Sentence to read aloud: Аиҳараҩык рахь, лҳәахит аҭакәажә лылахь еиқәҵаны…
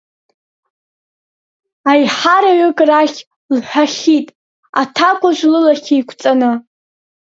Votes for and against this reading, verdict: 1, 2, rejected